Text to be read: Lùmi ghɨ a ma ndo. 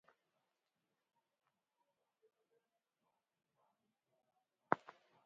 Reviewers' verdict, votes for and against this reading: rejected, 0, 2